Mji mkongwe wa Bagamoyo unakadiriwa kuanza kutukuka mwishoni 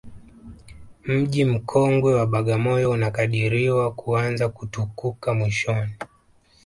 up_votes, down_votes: 1, 2